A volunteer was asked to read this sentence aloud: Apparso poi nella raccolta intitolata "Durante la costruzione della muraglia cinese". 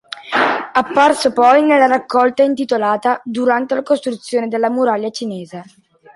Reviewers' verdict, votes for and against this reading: accepted, 2, 1